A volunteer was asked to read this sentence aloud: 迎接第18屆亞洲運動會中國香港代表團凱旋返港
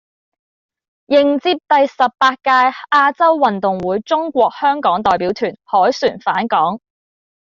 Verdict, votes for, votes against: rejected, 0, 2